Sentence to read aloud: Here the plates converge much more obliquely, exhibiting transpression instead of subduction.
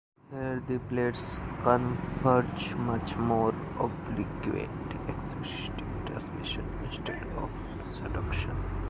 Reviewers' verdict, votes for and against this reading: rejected, 0, 3